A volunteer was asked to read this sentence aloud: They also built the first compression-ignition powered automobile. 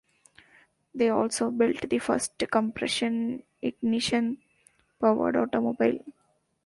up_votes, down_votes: 0, 2